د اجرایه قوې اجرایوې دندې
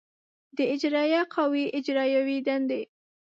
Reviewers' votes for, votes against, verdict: 2, 0, accepted